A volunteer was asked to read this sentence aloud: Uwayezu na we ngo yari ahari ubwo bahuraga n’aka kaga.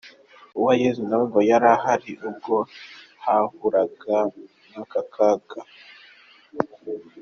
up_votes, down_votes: 2, 0